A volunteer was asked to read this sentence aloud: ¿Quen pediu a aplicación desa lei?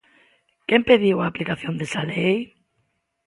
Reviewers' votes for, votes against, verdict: 2, 1, accepted